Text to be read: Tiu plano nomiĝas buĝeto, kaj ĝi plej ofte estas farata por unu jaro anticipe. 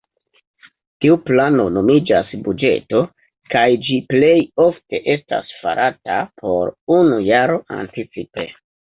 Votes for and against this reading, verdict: 2, 0, accepted